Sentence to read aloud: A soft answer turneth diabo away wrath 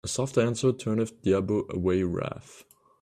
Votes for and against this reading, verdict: 1, 2, rejected